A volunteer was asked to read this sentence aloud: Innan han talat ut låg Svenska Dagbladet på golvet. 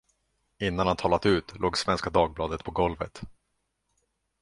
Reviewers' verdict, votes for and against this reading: accepted, 2, 0